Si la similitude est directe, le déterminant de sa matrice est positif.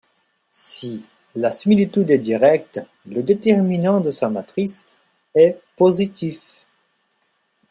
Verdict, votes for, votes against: rejected, 1, 2